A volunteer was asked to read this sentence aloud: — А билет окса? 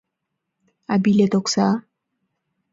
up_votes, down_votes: 2, 0